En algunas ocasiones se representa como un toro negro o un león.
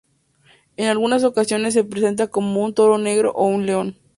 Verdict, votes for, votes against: rejected, 0, 2